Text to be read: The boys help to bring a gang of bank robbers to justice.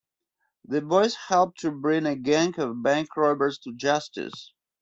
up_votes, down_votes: 2, 0